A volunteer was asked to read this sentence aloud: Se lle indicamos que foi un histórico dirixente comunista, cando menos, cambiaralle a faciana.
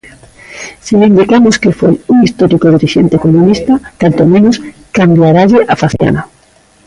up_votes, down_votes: 0, 2